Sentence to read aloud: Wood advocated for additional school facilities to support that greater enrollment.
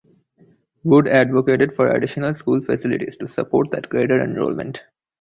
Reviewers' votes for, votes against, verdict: 2, 0, accepted